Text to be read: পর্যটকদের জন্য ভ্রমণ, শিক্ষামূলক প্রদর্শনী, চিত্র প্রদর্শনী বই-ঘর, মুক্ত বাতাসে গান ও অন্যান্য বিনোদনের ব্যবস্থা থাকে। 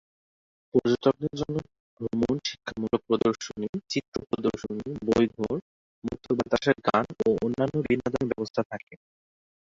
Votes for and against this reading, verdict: 0, 2, rejected